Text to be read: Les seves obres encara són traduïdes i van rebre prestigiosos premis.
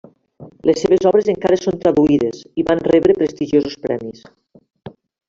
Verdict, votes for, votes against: accepted, 3, 1